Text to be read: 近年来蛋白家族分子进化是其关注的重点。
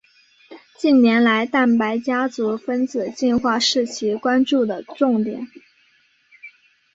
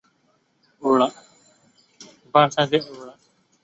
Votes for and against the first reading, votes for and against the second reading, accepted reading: 3, 0, 0, 4, first